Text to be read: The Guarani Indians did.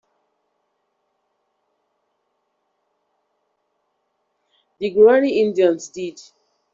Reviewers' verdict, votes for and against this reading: accepted, 2, 0